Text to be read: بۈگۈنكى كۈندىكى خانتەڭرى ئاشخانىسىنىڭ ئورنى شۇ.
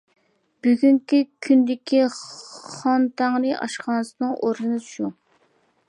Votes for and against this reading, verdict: 3, 0, accepted